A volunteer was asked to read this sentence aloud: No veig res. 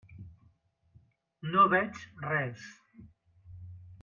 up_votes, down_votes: 3, 0